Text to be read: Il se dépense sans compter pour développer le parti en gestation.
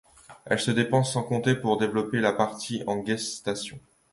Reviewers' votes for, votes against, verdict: 0, 2, rejected